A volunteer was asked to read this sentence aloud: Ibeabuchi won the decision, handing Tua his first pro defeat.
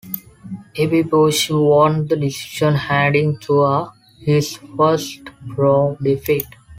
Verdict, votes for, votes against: rejected, 1, 2